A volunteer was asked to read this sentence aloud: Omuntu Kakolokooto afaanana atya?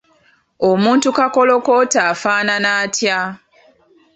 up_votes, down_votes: 2, 0